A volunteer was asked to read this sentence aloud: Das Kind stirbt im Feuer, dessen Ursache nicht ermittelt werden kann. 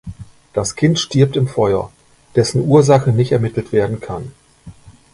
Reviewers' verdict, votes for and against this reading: accepted, 2, 0